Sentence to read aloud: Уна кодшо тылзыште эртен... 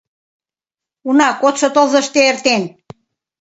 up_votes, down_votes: 2, 0